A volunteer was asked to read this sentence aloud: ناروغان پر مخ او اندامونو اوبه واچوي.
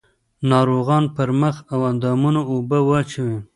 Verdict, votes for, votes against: rejected, 1, 2